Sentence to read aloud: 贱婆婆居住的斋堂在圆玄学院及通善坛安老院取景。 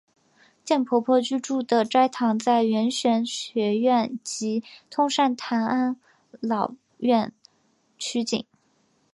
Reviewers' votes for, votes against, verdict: 3, 0, accepted